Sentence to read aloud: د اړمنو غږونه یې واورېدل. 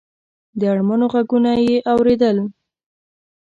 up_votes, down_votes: 1, 2